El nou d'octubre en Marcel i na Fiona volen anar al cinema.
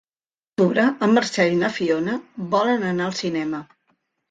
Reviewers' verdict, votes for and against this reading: rejected, 0, 2